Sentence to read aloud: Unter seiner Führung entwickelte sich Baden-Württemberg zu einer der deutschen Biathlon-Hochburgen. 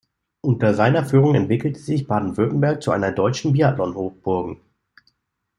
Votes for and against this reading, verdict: 1, 2, rejected